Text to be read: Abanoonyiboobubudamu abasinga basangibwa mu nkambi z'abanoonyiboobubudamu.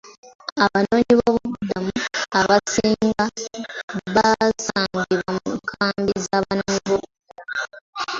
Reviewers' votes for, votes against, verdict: 0, 2, rejected